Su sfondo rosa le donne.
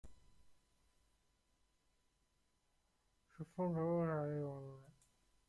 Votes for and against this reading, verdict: 0, 2, rejected